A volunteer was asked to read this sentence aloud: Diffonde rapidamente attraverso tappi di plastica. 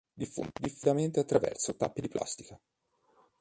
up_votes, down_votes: 2, 4